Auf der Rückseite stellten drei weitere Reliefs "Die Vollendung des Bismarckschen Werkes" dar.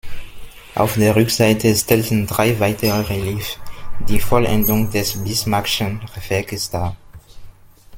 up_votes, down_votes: 1, 2